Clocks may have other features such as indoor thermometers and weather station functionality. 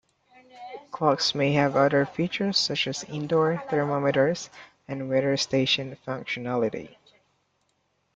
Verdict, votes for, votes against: accepted, 2, 0